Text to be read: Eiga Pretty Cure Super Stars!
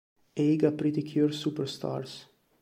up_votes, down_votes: 2, 1